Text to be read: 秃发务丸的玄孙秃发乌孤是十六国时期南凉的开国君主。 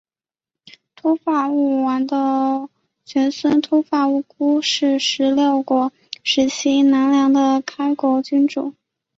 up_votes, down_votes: 0, 2